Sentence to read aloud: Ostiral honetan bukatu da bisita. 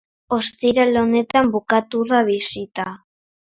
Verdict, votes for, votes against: accepted, 3, 0